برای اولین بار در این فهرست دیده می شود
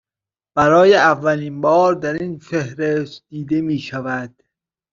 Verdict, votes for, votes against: accepted, 2, 0